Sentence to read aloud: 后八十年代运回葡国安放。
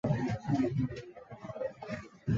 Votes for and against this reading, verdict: 0, 5, rejected